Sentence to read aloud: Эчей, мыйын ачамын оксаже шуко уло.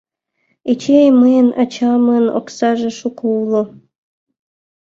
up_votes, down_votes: 2, 0